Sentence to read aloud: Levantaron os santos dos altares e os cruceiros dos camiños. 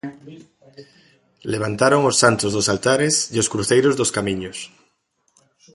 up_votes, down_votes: 0, 2